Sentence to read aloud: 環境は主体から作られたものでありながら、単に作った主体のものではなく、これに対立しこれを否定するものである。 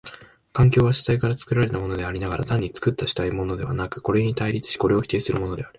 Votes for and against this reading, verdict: 2, 0, accepted